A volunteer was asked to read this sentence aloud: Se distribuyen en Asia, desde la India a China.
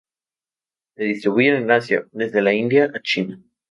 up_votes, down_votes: 2, 0